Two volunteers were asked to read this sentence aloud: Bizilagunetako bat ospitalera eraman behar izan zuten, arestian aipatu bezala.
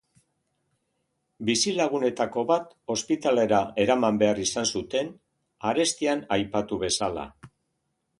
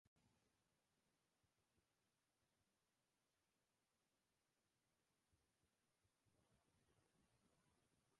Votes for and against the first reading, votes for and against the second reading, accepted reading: 2, 0, 0, 2, first